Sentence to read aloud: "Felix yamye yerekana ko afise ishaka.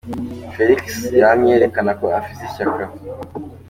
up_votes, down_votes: 2, 0